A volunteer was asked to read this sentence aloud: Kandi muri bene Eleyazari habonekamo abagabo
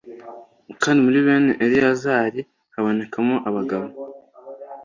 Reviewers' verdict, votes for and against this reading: accepted, 2, 0